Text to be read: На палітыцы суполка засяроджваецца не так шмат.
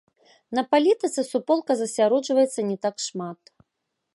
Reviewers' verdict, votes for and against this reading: accepted, 2, 0